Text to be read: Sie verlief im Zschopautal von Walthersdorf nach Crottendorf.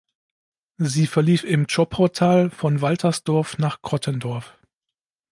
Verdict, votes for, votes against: accepted, 2, 0